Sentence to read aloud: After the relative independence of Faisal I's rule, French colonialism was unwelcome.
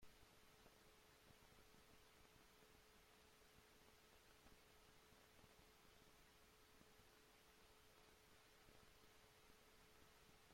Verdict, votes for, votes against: rejected, 0, 2